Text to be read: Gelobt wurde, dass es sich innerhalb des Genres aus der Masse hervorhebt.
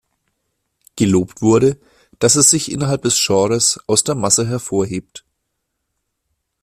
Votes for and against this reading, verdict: 1, 2, rejected